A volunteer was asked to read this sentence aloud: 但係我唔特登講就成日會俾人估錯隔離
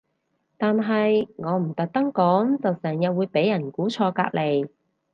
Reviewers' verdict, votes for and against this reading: accepted, 4, 0